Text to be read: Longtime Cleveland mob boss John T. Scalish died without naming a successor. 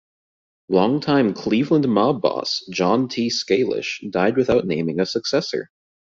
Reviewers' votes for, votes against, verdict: 2, 0, accepted